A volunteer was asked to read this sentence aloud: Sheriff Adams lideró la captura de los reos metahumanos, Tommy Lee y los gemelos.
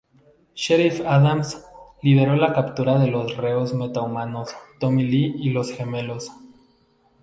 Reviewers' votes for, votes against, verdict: 0, 2, rejected